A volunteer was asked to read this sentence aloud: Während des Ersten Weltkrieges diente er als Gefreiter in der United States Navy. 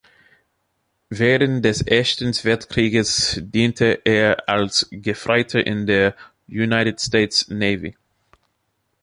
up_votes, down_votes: 1, 3